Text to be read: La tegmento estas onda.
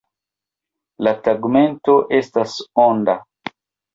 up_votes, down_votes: 0, 2